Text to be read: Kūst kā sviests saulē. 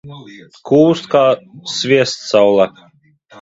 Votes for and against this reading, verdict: 0, 2, rejected